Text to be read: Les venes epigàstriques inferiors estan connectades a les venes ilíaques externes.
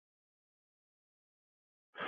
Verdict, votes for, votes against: rejected, 0, 3